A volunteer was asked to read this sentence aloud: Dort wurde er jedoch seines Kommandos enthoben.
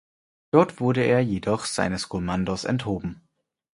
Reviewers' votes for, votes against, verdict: 4, 0, accepted